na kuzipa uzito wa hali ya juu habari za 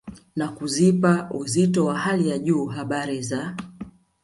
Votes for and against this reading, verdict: 2, 1, accepted